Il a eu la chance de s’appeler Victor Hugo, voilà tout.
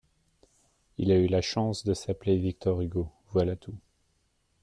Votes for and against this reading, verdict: 2, 0, accepted